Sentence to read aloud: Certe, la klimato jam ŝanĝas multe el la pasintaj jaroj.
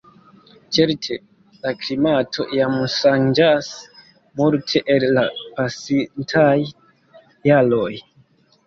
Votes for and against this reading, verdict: 0, 2, rejected